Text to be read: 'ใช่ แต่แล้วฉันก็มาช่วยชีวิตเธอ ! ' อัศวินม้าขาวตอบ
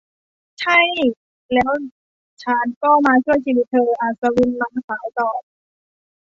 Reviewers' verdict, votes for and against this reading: rejected, 0, 2